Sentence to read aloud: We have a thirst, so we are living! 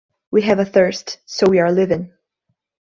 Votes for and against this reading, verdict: 1, 2, rejected